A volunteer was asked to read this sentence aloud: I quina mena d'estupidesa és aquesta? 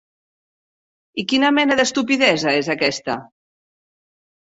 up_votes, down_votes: 1, 2